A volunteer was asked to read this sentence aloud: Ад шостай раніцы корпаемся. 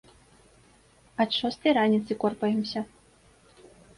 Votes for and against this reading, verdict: 2, 1, accepted